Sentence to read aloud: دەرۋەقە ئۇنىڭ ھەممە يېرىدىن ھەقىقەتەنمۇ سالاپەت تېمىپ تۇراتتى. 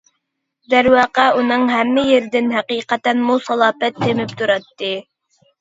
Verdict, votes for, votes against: accepted, 2, 0